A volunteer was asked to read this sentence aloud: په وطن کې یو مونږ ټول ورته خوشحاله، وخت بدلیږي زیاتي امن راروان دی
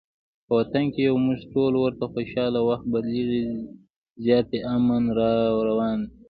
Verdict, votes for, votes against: accepted, 2, 0